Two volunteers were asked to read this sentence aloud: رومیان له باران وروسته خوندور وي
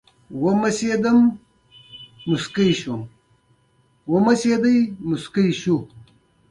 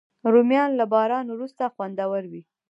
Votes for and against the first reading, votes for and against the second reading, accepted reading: 1, 2, 2, 0, second